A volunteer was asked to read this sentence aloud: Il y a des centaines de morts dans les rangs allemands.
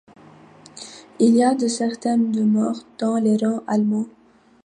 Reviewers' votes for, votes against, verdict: 2, 1, accepted